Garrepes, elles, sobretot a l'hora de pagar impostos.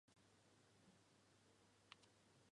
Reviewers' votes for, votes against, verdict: 0, 4, rejected